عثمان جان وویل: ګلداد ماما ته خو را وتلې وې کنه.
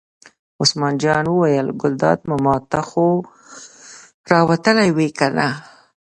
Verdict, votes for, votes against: rejected, 1, 2